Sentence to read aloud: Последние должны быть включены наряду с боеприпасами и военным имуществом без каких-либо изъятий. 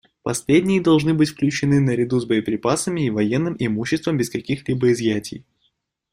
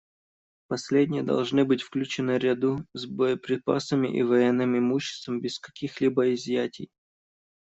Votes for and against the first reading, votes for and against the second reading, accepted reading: 2, 0, 1, 2, first